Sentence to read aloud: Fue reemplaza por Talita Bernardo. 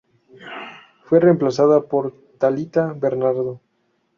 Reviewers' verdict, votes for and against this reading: rejected, 0, 2